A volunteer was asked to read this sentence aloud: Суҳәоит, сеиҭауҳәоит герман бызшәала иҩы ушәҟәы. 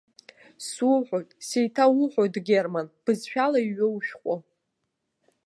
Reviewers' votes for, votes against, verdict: 1, 2, rejected